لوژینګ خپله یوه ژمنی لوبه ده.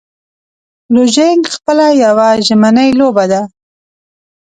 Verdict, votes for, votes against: accepted, 2, 0